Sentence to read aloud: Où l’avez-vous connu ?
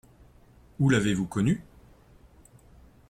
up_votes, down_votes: 2, 0